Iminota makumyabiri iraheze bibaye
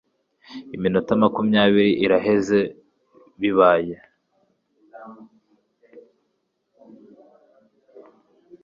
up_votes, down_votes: 2, 0